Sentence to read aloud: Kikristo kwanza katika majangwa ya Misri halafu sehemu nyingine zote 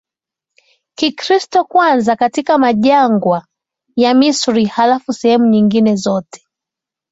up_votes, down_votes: 2, 0